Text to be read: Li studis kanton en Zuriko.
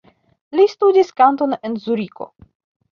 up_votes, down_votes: 1, 2